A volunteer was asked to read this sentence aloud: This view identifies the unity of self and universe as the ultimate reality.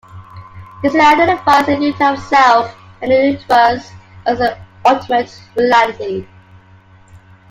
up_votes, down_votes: 0, 2